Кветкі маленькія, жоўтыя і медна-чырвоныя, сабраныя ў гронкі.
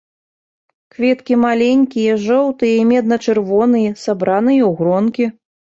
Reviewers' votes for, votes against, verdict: 2, 0, accepted